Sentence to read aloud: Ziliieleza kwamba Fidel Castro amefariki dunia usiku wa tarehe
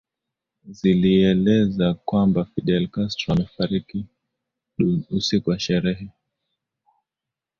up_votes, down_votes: 3, 2